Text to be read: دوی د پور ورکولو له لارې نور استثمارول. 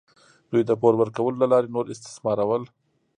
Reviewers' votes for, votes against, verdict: 1, 2, rejected